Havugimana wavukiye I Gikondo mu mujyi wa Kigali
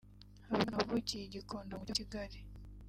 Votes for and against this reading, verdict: 0, 3, rejected